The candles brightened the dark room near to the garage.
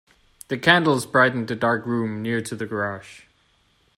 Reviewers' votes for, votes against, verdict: 2, 0, accepted